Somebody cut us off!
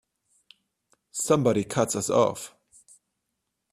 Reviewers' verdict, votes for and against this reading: rejected, 0, 2